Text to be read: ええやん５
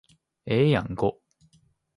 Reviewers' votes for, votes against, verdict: 0, 2, rejected